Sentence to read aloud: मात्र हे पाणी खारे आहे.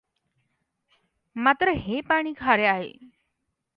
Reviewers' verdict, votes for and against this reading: accepted, 2, 0